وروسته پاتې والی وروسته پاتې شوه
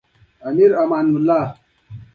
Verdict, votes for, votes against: accepted, 2, 0